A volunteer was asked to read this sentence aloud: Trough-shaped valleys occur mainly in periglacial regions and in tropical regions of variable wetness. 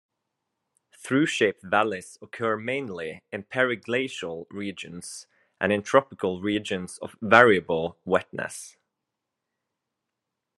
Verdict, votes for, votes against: rejected, 0, 2